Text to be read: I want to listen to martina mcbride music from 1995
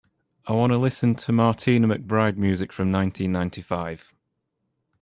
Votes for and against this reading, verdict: 0, 2, rejected